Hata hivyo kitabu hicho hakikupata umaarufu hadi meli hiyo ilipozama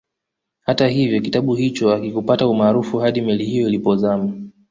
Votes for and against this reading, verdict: 2, 0, accepted